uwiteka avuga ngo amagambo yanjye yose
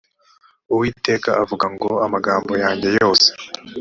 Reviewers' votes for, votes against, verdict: 2, 0, accepted